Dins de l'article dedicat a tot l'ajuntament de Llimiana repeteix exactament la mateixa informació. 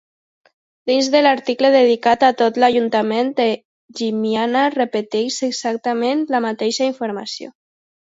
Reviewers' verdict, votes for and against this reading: accepted, 2, 0